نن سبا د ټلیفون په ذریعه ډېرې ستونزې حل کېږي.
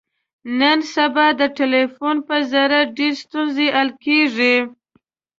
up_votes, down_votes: 1, 2